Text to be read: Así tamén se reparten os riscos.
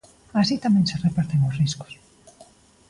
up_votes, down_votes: 2, 0